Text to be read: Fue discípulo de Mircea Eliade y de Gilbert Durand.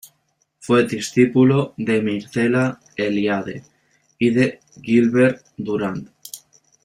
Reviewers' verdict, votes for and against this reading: rejected, 1, 2